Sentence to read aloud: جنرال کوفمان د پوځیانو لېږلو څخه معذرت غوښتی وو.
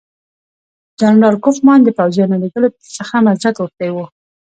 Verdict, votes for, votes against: accepted, 2, 0